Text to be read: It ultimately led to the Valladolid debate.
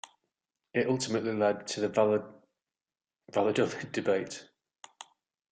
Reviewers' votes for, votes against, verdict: 0, 2, rejected